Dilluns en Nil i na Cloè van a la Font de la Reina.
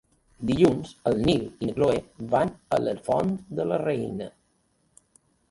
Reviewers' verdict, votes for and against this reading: rejected, 2, 3